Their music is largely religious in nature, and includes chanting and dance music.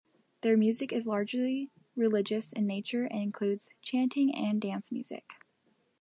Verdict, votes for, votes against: rejected, 1, 2